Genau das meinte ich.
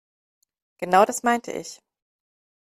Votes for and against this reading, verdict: 2, 0, accepted